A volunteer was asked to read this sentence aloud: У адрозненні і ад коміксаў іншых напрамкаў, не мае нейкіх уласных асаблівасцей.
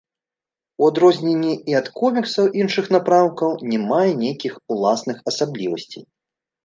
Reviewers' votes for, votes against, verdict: 2, 0, accepted